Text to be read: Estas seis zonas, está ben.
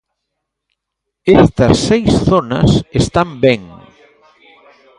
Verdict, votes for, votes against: rejected, 0, 2